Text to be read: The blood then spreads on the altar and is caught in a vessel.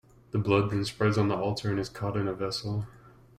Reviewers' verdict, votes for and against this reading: accepted, 2, 0